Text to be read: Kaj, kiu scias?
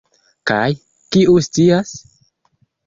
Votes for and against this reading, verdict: 2, 0, accepted